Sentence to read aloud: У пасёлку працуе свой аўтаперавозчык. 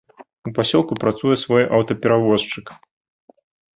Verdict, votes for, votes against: accepted, 2, 0